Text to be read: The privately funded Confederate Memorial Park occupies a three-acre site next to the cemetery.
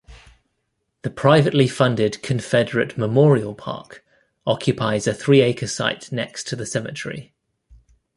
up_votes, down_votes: 2, 0